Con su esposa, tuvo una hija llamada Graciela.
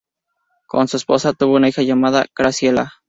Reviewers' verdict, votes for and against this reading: accepted, 6, 0